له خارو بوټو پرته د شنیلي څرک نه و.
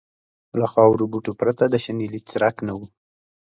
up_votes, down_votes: 2, 1